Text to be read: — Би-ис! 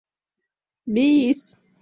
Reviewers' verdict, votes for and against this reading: accepted, 2, 0